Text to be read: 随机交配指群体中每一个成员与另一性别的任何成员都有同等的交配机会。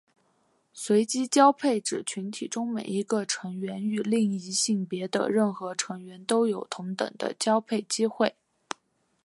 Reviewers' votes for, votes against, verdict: 2, 1, accepted